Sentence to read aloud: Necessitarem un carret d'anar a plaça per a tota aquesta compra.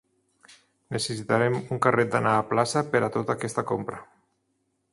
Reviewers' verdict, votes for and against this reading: accepted, 2, 0